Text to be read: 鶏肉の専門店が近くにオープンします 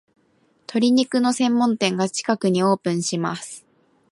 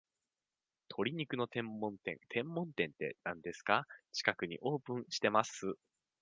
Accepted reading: first